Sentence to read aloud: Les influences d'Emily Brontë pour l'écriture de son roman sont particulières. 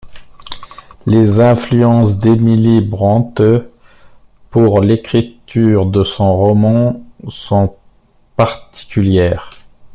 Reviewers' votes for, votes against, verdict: 0, 2, rejected